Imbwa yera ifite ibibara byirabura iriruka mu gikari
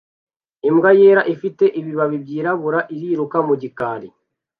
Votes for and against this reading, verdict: 0, 2, rejected